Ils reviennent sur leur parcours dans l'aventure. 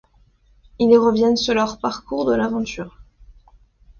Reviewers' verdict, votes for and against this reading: rejected, 0, 2